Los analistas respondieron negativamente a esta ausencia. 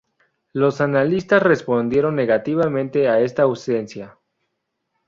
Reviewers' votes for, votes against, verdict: 4, 0, accepted